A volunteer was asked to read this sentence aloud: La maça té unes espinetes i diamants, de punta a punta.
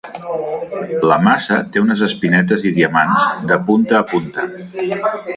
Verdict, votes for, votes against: rejected, 1, 3